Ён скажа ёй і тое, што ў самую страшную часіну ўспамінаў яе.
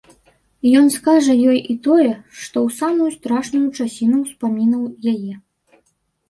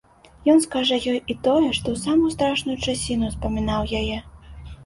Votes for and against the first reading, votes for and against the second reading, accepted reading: 0, 2, 2, 0, second